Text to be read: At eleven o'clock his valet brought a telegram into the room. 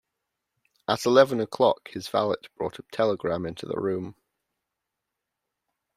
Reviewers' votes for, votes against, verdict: 2, 0, accepted